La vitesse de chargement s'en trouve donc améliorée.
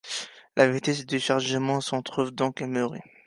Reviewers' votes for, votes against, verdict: 3, 1, accepted